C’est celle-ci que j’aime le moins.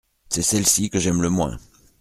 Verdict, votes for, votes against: accepted, 2, 0